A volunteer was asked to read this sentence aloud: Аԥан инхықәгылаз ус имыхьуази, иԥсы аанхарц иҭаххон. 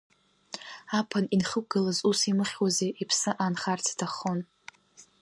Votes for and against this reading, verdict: 0, 2, rejected